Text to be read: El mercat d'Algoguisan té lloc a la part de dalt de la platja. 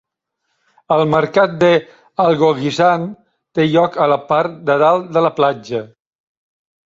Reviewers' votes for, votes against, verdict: 0, 2, rejected